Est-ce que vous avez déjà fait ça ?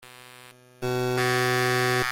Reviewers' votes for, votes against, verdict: 0, 2, rejected